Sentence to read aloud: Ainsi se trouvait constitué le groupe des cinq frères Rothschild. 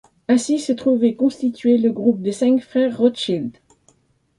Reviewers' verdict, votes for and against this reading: accepted, 2, 1